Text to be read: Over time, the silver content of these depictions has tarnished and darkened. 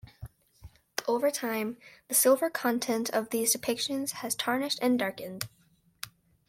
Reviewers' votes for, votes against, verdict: 2, 0, accepted